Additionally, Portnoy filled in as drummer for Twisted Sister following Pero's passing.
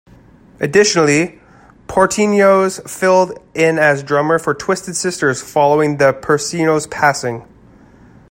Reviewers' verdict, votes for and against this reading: rejected, 0, 2